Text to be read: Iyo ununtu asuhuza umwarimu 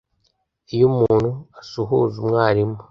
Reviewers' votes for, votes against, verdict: 0, 2, rejected